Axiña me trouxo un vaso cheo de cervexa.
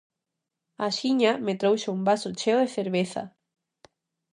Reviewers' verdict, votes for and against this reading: rejected, 0, 2